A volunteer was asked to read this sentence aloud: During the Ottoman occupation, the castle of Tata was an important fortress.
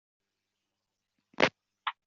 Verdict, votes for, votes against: rejected, 0, 2